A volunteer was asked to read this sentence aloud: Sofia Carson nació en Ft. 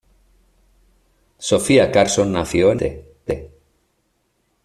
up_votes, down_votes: 1, 2